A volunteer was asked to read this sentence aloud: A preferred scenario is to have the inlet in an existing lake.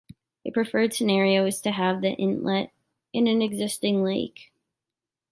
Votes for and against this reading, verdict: 2, 1, accepted